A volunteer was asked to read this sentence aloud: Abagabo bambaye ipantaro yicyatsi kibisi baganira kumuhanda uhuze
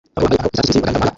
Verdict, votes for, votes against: rejected, 0, 2